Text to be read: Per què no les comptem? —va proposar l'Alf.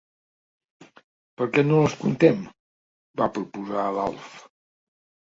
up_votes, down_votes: 2, 0